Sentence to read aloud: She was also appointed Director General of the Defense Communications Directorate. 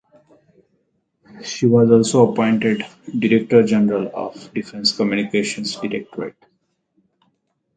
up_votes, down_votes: 4, 4